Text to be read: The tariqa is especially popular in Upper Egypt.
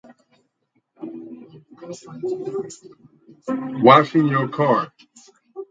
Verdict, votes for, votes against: rejected, 0, 4